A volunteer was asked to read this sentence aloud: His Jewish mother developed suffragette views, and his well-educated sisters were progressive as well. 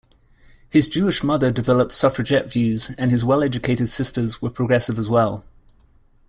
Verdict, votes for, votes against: accepted, 2, 1